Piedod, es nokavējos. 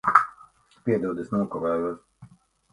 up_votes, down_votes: 2, 1